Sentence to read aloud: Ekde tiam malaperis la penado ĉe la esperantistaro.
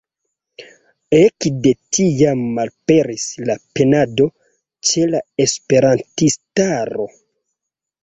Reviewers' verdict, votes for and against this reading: accepted, 2, 0